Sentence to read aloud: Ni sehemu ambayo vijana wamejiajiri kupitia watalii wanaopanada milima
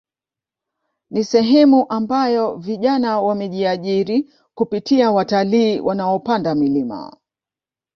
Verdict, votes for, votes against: accepted, 2, 1